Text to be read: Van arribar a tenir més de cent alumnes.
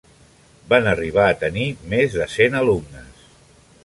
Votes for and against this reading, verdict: 3, 0, accepted